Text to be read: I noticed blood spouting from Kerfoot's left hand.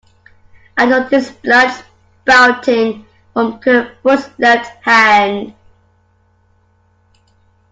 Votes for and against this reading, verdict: 2, 1, accepted